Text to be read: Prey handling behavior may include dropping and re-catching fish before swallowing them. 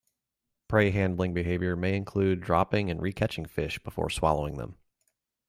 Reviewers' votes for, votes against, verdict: 2, 0, accepted